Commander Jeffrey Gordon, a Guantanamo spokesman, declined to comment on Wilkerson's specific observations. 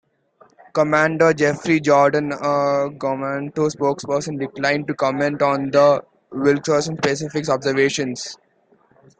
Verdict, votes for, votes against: rejected, 1, 2